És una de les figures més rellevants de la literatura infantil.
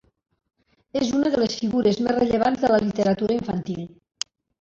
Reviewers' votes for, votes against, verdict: 0, 3, rejected